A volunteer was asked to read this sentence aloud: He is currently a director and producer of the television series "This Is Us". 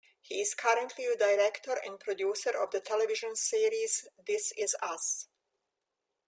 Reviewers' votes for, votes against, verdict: 2, 0, accepted